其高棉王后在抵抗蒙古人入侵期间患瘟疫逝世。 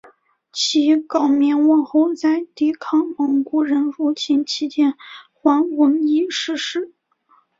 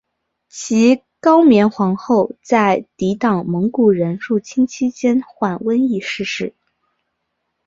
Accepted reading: second